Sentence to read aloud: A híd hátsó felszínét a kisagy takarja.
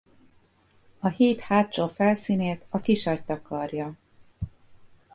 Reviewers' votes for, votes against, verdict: 2, 0, accepted